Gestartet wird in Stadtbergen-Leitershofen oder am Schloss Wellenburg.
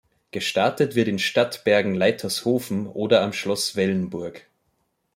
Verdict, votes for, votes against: accepted, 2, 0